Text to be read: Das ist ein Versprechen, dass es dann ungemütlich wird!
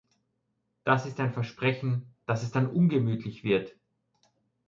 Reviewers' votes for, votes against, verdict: 2, 0, accepted